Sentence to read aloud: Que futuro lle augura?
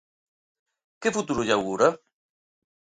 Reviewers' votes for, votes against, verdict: 2, 0, accepted